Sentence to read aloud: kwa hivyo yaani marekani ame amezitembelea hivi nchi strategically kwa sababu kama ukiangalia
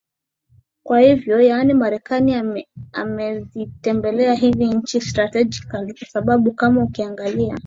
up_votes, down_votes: 3, 0